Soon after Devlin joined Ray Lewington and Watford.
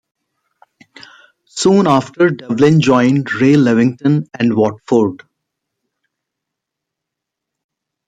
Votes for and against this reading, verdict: 2, 0, accepted